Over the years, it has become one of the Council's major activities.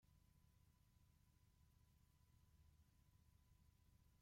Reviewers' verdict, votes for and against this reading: rejected, 0, 2